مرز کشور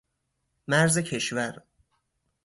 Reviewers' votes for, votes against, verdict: 4, 0, accepted